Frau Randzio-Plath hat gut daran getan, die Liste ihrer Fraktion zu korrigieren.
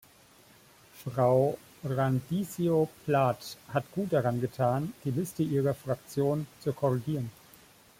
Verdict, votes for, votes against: rejected, 0, 2